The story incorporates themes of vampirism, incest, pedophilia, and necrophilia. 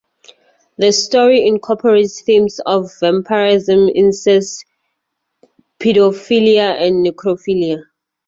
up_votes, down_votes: 2, 0